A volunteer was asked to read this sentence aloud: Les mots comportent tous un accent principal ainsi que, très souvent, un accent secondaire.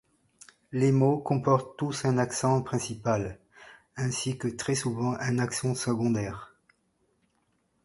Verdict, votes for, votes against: accepted, 2, 0